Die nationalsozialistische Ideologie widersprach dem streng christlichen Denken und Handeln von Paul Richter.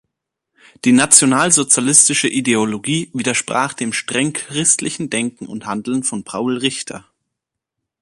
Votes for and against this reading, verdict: 2, 0, accepted